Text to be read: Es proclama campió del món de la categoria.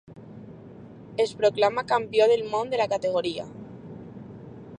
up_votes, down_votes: 2, 0